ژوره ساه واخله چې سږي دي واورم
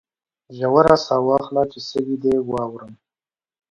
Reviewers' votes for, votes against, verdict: 2, 0, accepted